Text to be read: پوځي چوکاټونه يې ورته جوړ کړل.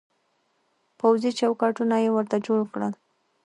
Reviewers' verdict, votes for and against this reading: accepted, 2, 1